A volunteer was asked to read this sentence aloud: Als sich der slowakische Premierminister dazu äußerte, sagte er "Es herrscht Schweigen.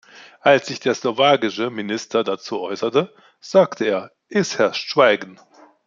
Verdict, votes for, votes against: rejected, 0, 2